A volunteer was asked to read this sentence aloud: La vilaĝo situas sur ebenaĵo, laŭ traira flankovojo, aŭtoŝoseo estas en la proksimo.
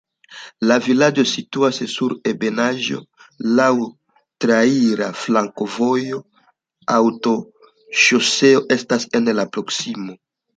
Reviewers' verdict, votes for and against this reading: accepted, 2, 0